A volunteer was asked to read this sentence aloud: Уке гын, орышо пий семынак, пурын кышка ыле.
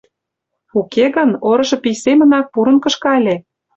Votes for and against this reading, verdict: 2, 0, accepted